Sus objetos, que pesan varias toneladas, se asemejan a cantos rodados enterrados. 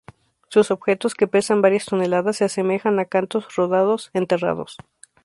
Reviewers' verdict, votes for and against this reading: accepted, 2, 0